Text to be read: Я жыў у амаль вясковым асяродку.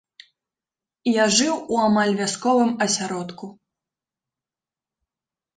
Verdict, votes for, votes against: accepted, 2, 0